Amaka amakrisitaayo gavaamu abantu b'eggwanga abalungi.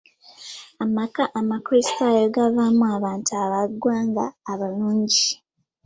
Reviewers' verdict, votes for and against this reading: rejected, 1, 2